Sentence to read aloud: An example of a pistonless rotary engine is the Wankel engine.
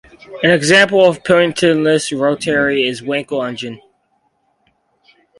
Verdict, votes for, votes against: rejected, 2, 4